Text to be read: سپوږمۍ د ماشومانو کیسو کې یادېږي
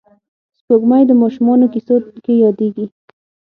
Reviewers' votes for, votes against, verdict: 6, 0, accepted